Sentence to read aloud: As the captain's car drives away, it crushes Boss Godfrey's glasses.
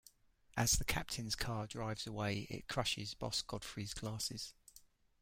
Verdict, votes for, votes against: accepted, 2, 0